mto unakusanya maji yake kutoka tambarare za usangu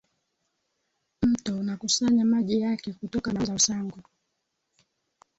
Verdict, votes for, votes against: rejected, 0, 2